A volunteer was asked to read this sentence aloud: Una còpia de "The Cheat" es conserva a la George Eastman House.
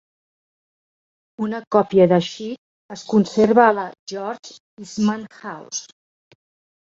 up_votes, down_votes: 1, 2